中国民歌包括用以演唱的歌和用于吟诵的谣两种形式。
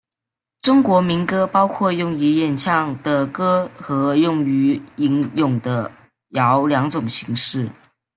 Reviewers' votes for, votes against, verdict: 1, 2, rejected